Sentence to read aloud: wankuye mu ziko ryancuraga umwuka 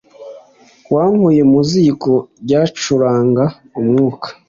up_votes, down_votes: 0, 2